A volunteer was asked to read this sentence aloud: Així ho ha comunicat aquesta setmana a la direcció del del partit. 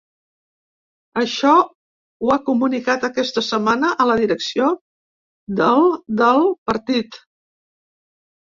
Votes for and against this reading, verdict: 1, 2, rejected